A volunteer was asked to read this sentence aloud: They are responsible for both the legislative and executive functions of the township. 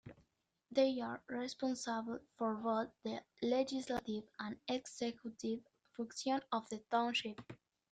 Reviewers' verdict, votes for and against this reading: rejected, 1, 2